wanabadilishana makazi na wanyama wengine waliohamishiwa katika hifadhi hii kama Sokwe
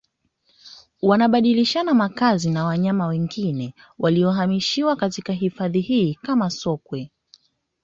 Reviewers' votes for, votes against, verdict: 2, 1, accepted